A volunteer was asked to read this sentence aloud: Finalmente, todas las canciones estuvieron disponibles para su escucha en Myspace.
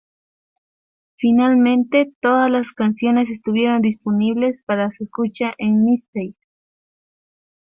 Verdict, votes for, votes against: accepted, 2, 0